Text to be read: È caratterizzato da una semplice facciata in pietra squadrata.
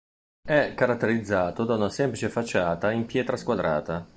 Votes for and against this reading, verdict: 1, 2, rejected